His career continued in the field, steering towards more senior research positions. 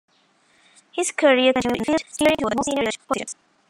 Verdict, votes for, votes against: rejected, 0, 2